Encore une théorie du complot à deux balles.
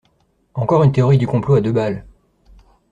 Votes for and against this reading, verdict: 2, 0, accepted